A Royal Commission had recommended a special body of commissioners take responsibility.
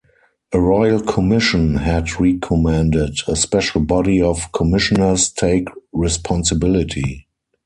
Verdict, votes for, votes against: rejected, 0, 4